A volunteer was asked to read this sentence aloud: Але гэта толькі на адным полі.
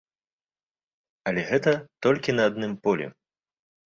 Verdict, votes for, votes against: accepted, 2, 0